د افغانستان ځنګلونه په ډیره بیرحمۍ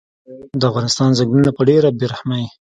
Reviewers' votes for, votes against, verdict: 3, 0, accepted